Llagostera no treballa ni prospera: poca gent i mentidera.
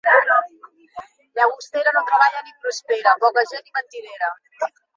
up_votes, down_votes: 1, 2